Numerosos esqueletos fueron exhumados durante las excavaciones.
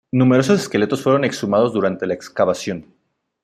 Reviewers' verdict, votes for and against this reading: rejected, 1, 2